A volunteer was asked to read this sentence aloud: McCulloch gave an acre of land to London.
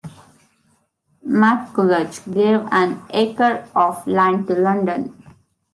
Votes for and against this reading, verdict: 1, 2, rejected